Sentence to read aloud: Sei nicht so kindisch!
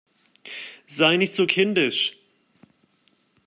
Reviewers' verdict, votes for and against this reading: accepted, 2, 0